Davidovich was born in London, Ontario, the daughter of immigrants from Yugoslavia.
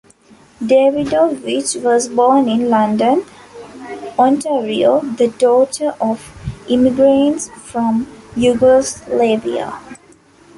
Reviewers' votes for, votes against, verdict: 1, 2, rejected